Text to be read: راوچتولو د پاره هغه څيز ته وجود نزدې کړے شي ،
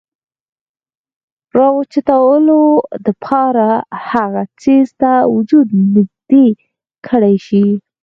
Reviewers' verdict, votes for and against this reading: accepted, 4, 0